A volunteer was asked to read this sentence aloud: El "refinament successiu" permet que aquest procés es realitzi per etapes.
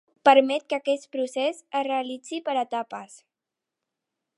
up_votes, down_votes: 0, 2